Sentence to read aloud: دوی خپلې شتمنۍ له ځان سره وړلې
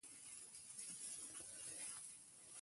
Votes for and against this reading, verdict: 1, 2, rejected